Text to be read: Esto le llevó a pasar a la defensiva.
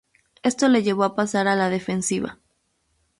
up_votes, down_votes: 2, 0